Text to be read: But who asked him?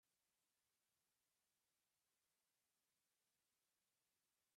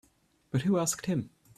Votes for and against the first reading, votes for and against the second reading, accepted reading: 0, 2, 2, 0, second